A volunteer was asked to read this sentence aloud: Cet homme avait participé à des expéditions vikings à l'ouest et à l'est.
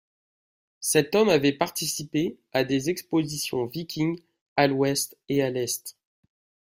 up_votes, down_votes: 0, 2